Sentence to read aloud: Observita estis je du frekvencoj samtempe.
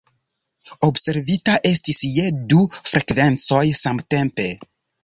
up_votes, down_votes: 2, 0